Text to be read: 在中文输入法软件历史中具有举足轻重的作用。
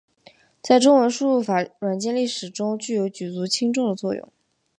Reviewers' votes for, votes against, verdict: 2, 0, accepted